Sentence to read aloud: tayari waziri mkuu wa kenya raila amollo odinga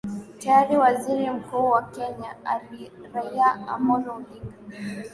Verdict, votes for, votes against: accepted, 5, 1